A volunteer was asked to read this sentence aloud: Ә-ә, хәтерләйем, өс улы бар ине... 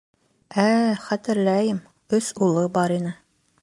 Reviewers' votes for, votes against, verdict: 2, 0, accepted